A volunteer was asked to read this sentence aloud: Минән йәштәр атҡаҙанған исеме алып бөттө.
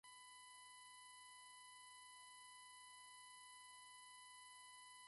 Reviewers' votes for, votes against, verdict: 0, 2, rejected